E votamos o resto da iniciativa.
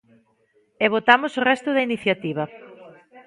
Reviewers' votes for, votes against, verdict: 0, 2, rejected